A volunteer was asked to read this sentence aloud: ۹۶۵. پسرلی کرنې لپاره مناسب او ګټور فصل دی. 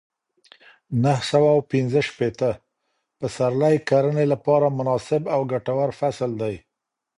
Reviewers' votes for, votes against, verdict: 0, 2, rejected